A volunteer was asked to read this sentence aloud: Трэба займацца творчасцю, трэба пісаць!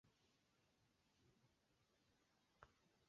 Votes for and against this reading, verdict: 0, 3, rejected